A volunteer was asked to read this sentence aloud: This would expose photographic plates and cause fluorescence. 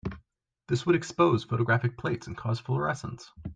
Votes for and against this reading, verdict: 2, 0, accepted